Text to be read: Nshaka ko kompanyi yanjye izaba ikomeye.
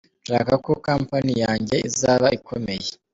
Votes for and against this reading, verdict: 1, 2, rejected